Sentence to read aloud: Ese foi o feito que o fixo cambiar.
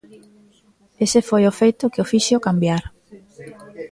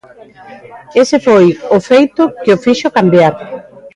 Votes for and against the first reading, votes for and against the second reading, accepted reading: 0, 2, 2, 0, second